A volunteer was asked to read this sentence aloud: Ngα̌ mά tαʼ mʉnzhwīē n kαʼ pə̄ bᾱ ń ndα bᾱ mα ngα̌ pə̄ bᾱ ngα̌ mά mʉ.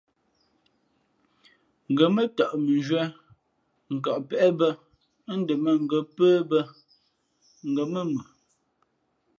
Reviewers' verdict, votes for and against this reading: accepted, 2, 0